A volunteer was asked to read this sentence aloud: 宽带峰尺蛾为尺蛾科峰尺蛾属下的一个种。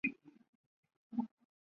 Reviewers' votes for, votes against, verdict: 0, 2, rejected